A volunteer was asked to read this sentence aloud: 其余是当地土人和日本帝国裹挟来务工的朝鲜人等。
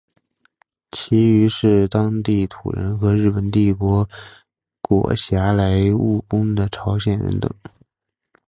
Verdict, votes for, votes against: accepted, 3, 1